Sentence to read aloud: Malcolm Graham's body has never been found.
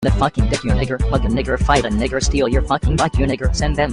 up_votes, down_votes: 0, 2